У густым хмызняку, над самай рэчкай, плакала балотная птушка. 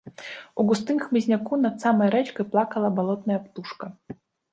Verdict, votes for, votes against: rejected, 1, 2